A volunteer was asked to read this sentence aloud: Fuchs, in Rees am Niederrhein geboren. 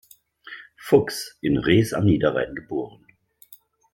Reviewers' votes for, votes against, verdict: 1, 2, rejected